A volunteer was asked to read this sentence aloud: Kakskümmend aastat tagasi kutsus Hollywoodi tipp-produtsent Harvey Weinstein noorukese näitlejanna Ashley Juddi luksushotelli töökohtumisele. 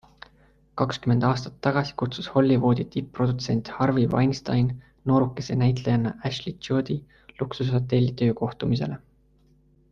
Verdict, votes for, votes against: accepted, 2, 0